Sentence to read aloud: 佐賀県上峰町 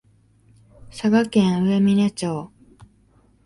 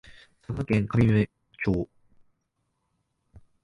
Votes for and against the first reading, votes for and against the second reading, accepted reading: 20, 3, 0, 2, first